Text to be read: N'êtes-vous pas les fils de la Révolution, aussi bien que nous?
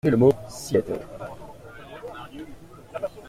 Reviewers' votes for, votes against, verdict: 0, 2, rejected